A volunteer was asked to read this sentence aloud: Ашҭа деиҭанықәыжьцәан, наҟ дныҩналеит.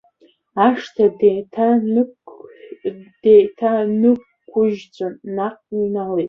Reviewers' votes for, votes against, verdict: 0, 2, rejected